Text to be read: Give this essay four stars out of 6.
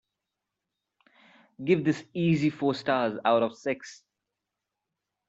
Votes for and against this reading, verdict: 0, 2, rejected